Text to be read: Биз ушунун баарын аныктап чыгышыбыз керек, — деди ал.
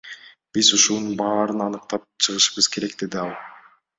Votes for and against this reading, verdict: 2, 0, accepted